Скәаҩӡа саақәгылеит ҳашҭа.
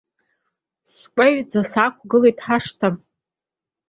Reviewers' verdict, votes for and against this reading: accepted, 2, 0